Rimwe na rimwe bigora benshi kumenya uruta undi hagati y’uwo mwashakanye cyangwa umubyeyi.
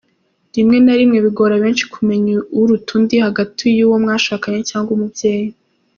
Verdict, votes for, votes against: accepted, 2, 0